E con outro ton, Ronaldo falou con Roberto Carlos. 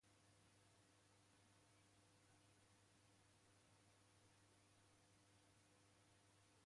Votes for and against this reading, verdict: 0, 2, rejected